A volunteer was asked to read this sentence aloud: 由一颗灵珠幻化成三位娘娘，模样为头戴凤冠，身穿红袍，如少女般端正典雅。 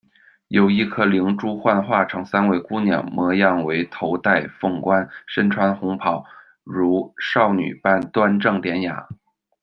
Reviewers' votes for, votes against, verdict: 1, 2, rejected